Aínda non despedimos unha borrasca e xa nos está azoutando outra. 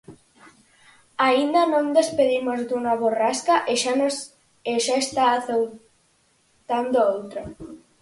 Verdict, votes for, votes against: rejected, 0, 4